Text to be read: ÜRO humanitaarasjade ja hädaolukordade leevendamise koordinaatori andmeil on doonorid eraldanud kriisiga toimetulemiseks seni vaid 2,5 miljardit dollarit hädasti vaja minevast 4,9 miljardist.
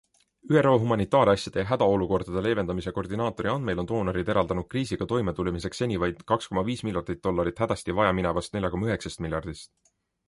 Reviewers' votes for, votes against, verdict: 0, 2, rejected